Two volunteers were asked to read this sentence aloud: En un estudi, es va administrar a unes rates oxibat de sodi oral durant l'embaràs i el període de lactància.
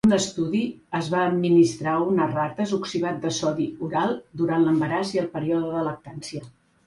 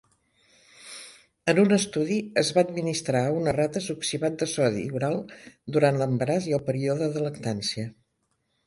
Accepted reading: second